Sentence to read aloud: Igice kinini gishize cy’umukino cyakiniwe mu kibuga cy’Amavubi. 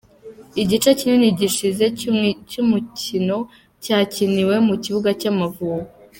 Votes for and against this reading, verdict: 1, 2, rejected